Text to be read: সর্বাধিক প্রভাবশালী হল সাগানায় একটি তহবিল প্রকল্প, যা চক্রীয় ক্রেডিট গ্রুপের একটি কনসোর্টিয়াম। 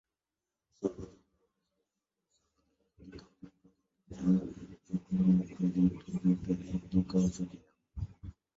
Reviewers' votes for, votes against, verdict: 0, 8, rejected